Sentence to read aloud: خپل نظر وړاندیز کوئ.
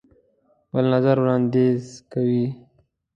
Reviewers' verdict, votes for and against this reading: rejected, 1, 2